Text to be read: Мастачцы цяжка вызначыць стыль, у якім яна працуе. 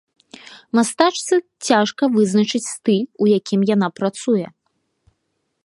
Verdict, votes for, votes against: accepted, 2, 0